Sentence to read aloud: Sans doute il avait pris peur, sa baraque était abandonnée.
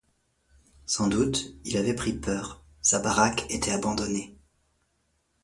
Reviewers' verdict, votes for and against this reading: accepted, 2, 0